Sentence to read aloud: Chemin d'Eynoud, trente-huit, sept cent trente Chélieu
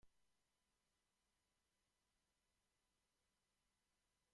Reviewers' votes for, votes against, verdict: 0, 2, rejected